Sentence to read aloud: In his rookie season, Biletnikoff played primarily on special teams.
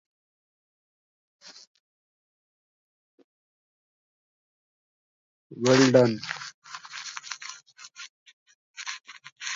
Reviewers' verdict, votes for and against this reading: rejected, 0, 2